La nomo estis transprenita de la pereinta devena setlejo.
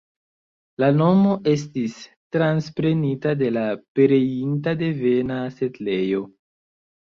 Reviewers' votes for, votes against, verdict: 0, 2, rejected